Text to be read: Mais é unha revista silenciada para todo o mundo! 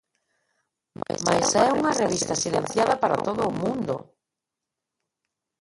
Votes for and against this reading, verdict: 0, 2, rejected